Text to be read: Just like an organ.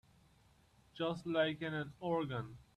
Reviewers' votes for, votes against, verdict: 1, 2, rejected